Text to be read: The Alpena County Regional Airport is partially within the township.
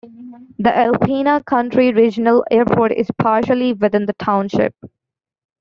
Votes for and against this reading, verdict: 0, 2, rejected